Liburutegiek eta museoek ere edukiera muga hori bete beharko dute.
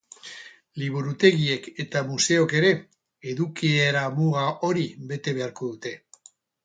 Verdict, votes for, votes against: rejected, 0, 4